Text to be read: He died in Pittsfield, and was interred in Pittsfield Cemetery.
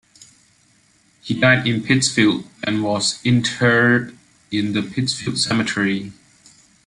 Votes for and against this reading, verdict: 1, 2, rejected